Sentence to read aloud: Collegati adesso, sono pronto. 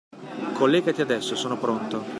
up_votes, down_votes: 2, 0